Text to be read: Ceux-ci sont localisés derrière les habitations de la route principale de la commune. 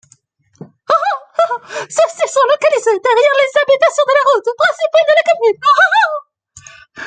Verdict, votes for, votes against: rejected, 0, 2